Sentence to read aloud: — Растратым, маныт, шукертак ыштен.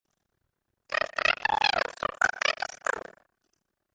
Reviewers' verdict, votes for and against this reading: rejected, 0, 2